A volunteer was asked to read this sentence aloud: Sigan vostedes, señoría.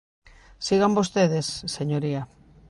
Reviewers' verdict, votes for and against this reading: accepted, 2, 0